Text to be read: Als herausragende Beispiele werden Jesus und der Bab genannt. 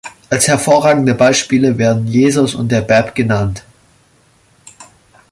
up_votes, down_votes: 0, 2